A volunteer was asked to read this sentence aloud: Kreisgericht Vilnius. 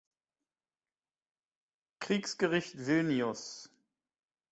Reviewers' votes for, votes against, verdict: 0, 4, rejected